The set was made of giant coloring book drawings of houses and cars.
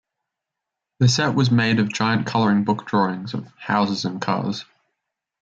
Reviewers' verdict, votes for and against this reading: accepted, 2, 1